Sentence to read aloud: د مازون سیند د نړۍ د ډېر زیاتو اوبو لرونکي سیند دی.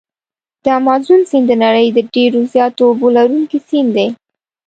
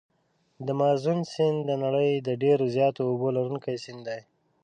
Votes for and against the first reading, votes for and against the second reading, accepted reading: 2, 0, 1, 2, first